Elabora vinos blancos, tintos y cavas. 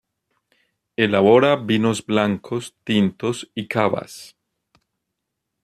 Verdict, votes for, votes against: accepted, 2, 0